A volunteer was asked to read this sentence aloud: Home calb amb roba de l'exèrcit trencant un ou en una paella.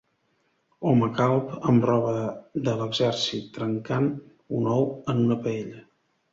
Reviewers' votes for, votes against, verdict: 0, 2, rejected